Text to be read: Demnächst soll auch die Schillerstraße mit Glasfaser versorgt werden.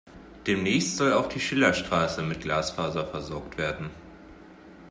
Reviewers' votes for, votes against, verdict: 2, 0, accepted